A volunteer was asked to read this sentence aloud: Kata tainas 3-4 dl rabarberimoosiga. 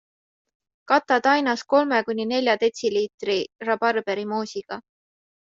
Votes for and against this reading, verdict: 0, 2, rejected